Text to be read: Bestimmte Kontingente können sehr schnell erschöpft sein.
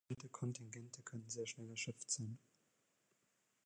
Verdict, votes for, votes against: rejected, 0, 2